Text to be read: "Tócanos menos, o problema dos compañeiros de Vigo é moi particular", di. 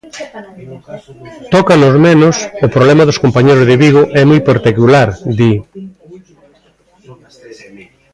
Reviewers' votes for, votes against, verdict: 1, 2, rejected